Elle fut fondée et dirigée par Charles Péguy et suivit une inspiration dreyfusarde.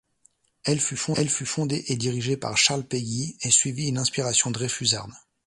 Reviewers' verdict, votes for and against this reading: rejected, 1, 2